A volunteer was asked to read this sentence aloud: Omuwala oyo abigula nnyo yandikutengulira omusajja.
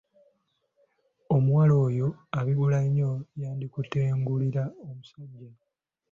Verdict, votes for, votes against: accepted, 2, 1